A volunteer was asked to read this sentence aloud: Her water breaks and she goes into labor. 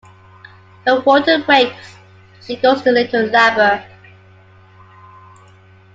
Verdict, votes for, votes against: rejected, 0, 2